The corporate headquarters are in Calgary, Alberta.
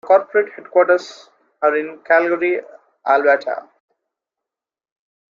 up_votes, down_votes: 0, 2